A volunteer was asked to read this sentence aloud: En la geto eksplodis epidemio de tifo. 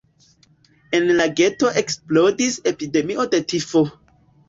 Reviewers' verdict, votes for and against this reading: rejected, 0, 2